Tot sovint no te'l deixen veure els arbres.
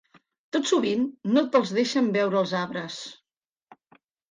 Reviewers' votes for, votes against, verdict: 2, 3, rejected